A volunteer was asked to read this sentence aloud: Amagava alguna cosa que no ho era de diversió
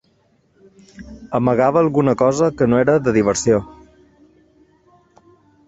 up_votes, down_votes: 1, 2